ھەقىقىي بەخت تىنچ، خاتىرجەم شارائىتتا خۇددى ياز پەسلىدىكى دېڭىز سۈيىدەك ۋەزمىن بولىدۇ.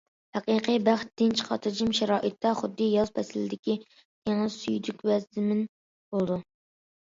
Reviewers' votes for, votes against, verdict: 0, 2, rejected